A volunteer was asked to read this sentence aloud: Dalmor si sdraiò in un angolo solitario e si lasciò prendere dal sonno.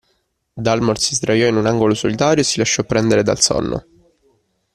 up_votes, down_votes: 2, 0